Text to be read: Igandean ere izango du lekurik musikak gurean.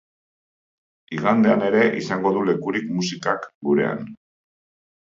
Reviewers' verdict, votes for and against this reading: accepted, 2, 0